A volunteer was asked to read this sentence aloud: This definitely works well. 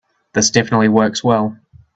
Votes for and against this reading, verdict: 2, 0, accepted